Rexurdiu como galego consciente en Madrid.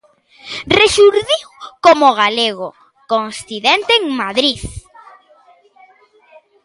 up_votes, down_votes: 1, 2